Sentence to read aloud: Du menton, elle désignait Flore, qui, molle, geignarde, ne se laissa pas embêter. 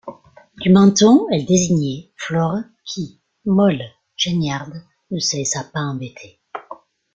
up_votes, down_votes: 1, 2